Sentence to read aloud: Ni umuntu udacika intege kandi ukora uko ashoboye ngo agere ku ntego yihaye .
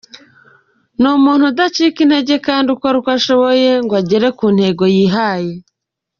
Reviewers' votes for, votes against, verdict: 2, 1, accepted